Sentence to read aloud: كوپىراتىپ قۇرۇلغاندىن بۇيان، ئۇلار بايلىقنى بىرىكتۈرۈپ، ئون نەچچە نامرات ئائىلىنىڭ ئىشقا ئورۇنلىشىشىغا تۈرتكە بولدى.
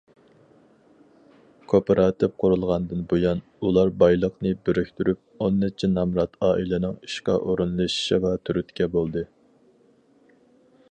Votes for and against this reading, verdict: 4, 0, accepted